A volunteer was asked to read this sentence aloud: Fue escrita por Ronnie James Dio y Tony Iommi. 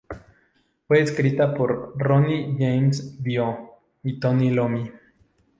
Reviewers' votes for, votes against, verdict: 0, 2, rejected